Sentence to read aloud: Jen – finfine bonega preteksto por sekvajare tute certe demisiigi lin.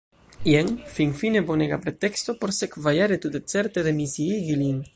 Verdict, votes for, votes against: accepted, 2, 0